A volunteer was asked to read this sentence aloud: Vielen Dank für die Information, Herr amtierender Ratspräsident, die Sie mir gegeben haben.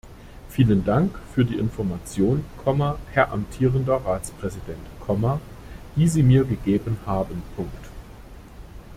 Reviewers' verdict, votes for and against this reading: rejected, 0, 2